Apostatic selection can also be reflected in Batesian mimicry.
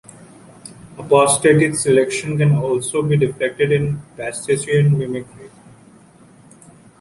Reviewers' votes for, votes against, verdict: 0, 2, rejected